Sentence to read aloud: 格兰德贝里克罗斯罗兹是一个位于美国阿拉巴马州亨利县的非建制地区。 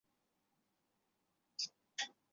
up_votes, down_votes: 0, 2